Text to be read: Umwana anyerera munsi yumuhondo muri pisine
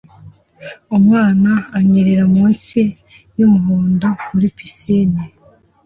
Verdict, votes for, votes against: accepted, 2, 0